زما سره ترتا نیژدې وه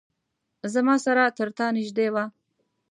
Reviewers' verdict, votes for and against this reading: accepted, 2, 0